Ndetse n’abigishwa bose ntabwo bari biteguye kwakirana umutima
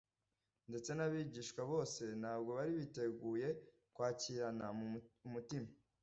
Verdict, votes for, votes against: rejected, 0, 2